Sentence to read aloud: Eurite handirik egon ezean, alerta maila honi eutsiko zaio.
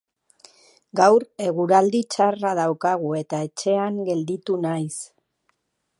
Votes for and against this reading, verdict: 1, 2, rejected